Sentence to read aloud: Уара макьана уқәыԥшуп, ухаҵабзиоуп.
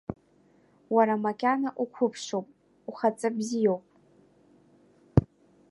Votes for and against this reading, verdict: 2, 0, accepted